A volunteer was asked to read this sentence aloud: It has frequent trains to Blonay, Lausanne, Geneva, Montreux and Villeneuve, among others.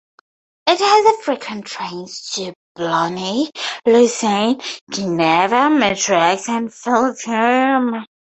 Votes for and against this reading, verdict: 2, 2, rejected